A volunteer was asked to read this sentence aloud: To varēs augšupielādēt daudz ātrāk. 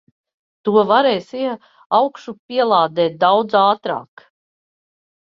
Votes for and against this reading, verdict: 0, 4, rejected